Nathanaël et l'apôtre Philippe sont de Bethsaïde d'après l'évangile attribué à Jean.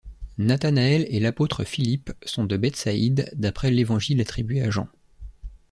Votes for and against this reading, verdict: 2, 0, accepted